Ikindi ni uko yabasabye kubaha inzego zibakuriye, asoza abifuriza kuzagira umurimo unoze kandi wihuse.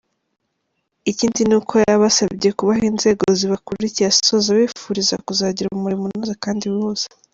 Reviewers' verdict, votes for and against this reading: accepted, 2, 1